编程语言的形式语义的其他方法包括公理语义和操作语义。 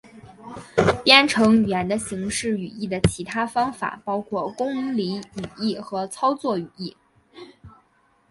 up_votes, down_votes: 3, 0